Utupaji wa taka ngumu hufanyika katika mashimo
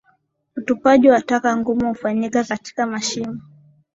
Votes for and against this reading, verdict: 6, 0, accepted